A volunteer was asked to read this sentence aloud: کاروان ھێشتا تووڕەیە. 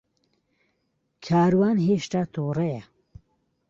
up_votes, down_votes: 2, 0